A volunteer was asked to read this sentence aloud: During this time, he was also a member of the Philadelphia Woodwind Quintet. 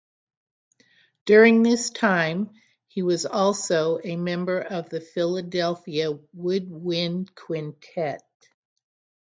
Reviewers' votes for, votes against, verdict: 6, 0, accepted